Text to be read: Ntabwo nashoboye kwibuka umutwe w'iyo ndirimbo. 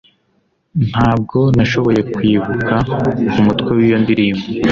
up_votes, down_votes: 2, 0